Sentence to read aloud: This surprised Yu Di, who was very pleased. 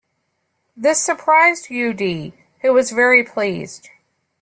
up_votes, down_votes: 2, 0